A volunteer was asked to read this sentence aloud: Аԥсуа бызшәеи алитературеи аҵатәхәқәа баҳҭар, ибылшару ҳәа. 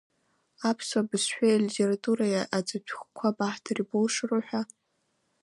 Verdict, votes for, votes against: accepted, 2, 0